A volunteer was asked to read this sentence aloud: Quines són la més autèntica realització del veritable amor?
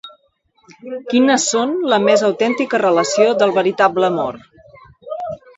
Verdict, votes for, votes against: rejected, 1, 2